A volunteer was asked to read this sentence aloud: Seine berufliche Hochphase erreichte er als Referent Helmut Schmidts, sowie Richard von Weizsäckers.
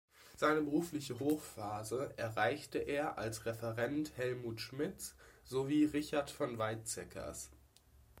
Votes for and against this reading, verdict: 2, 0, accepted